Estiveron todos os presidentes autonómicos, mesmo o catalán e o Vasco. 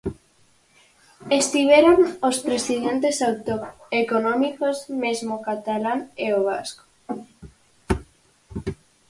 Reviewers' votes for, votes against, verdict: 0, 4, rejected